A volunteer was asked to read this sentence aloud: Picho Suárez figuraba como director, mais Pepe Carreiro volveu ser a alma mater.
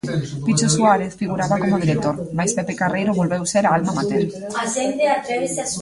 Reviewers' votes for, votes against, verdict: 0, 2, rejected